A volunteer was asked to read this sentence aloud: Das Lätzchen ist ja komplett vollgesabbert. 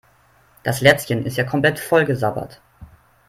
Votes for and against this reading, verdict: 3, 0, accepted